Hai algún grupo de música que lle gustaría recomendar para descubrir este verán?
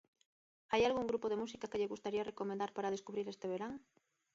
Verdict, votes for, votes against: accepted, 2, 0